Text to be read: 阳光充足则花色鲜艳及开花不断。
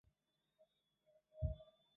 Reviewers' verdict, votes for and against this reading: rejected, 1, 3